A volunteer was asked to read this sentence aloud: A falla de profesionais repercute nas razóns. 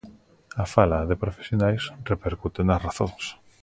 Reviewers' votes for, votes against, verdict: 0, 2, rejected